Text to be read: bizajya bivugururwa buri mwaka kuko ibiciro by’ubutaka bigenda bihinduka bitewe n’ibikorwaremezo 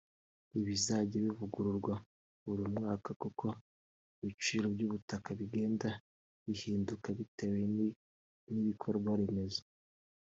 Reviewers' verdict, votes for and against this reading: rejected, 0, 2